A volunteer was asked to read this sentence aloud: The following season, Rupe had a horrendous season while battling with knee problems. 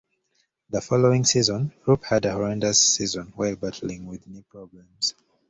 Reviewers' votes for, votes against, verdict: 2, 0, accepted